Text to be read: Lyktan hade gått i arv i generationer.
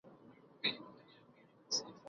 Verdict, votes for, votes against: rejected, 0, 2